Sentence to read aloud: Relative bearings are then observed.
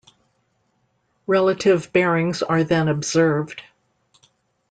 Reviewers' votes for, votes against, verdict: 2, 0, accepted